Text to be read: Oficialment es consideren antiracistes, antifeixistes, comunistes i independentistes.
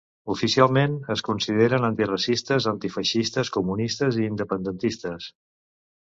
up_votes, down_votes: 2, 0